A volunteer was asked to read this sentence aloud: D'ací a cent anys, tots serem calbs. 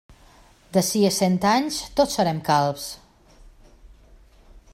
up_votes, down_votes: 2, 0